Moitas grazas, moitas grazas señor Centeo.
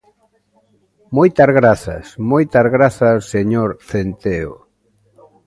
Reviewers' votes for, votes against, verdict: 2, 0, accepted